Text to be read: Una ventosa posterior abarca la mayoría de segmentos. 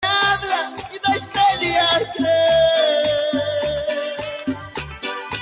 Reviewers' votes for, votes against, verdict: 0, 2, rejected